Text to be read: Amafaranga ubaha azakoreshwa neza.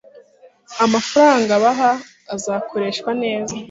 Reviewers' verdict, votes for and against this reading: rejected, 1, 2